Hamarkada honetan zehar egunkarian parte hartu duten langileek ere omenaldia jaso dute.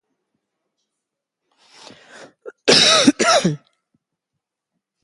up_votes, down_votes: 0, 2